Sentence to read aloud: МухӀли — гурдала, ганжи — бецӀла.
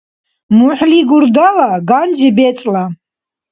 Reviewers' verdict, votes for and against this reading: accepted, 2, 0